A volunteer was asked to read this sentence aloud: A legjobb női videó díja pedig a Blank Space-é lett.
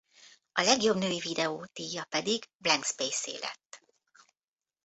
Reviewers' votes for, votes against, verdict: 1, 2, rejected